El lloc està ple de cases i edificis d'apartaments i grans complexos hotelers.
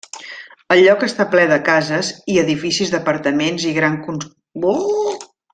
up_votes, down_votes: 0, 2